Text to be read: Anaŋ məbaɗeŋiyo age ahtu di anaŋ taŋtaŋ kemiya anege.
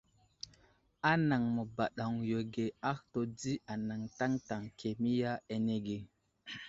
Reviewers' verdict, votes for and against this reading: accepted, 2, 0